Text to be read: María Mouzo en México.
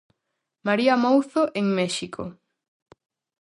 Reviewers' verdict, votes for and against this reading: accepted, 4, 0